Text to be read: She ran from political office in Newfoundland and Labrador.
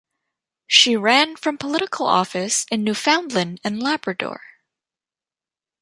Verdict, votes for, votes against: accepted, 2, 0